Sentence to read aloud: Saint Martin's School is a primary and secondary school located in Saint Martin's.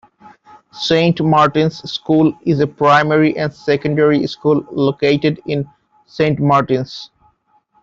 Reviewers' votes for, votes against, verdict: 1, 2, rejected